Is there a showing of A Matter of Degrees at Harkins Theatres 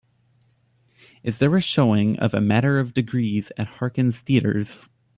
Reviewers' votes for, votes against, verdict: 3, 0, accepted